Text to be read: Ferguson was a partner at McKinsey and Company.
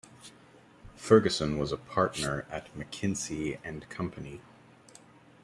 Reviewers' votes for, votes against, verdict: 2, 0, accepted